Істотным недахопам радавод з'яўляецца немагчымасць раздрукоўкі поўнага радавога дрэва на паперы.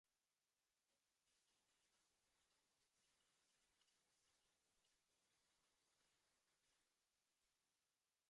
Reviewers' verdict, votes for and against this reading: rejected, 0, 2